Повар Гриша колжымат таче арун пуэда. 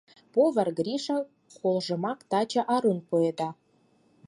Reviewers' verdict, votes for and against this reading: accepted, 4, 2